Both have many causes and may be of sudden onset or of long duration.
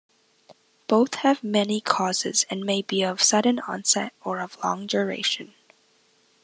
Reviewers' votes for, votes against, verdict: 2, 0, accepted